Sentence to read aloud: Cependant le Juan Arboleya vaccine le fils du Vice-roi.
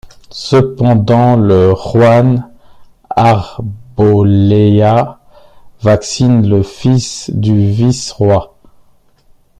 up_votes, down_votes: 1, 2